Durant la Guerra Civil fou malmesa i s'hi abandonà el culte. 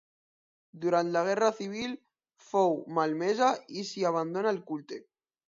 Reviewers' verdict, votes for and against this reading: rejected, 0, 2